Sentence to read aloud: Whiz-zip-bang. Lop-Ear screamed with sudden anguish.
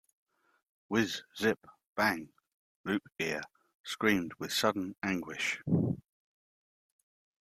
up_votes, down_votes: 0, 2